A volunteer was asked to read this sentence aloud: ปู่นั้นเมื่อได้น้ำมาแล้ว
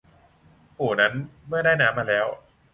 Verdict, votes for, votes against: accepted, 3, 0